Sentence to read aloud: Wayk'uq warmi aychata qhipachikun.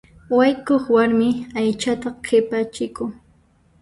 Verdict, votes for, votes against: rejected, 0, 2